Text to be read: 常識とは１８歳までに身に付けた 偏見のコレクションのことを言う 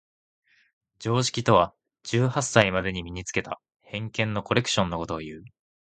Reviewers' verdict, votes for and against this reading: rejected, 0, 2